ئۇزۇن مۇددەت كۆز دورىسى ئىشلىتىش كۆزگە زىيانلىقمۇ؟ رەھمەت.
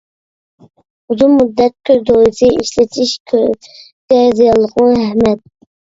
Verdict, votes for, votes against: rejected, 0, 2